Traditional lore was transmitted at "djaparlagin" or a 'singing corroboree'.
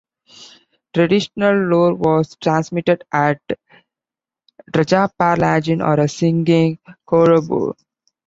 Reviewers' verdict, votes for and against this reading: rejected, 1, 2